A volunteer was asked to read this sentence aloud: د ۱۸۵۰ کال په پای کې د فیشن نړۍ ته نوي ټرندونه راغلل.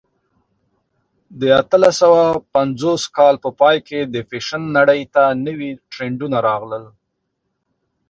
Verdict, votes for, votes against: rejected, 0, 2